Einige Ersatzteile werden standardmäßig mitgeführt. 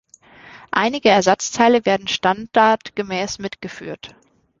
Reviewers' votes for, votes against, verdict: 0, 2, rejected